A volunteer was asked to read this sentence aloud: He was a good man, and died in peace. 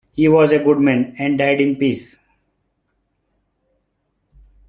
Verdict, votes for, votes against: accepted, 2, 0